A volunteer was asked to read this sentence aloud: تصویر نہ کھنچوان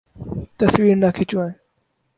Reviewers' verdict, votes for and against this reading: accepted, 4, 0